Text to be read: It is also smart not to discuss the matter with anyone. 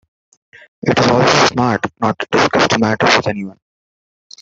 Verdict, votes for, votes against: rejected, 1, 2